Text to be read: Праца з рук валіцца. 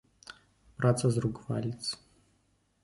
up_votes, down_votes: 3, 1